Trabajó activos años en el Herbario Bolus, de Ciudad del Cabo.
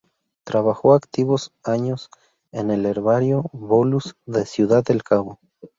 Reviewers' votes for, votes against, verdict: 2, 0, accepted